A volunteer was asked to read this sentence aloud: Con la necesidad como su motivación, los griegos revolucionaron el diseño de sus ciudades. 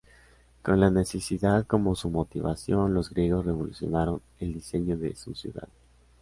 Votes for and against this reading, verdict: 2, 0, accepted